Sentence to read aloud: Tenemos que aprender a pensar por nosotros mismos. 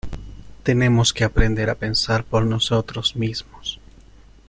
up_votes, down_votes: 2, 0